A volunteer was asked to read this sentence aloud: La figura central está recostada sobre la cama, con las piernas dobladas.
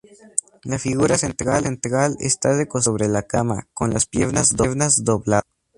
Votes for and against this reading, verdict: 0, 2, rejected